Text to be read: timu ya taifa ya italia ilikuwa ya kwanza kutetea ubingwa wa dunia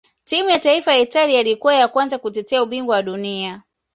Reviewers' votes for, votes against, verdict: 2, 0, accepted